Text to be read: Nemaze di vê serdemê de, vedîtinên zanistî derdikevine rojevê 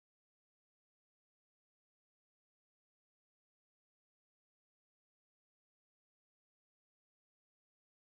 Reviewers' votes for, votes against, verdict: 1, 2, rejected